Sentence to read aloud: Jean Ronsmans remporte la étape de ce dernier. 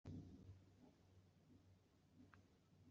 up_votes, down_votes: 0, 2